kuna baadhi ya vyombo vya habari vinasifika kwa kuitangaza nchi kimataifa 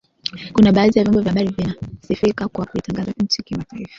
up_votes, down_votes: 2, 0